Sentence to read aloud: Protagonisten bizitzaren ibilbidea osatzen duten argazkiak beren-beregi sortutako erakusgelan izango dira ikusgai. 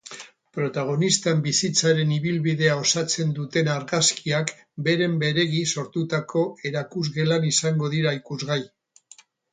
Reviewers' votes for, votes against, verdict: 2, 2, rejected